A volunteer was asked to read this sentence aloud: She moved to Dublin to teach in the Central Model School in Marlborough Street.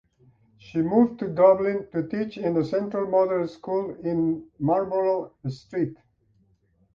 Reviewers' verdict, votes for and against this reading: accepted, 2, 0